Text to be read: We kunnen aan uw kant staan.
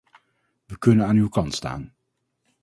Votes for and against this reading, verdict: 4, 0, accepted